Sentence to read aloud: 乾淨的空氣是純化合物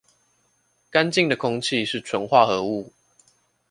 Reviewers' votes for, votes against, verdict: 2, 0, accepted